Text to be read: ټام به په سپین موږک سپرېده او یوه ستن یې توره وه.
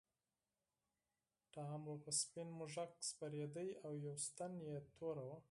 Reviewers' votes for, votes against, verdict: 2, 4, rejected